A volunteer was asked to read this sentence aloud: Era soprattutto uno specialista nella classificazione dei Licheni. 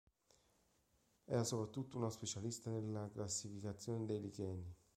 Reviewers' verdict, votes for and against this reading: rejected, 0, 2